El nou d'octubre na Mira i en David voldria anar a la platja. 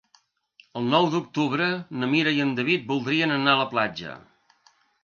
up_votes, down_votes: 1, 2